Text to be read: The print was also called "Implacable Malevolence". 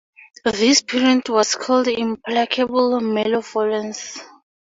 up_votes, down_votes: 2, 6